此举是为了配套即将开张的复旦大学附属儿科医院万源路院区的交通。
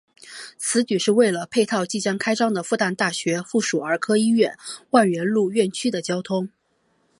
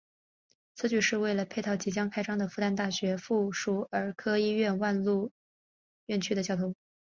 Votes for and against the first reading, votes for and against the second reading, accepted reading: 5, 1, 1, 2, first